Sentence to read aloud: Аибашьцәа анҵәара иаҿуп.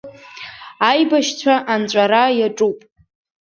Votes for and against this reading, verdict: 2, 0, accepted